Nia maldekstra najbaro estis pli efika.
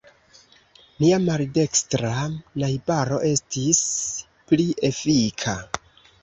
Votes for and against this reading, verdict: 2, 1, accepted